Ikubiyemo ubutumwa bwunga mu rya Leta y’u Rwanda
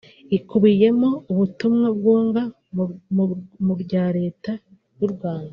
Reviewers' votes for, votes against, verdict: 0, 2, rejected